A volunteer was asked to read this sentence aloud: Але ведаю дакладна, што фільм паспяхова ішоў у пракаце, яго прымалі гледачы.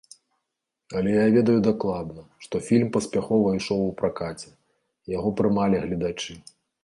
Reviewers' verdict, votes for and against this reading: rejected, 0, 2